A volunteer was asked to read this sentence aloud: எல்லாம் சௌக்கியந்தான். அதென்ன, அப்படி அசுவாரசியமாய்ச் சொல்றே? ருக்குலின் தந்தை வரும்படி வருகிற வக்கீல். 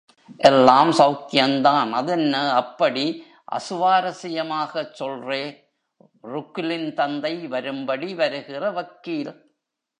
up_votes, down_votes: 1, 2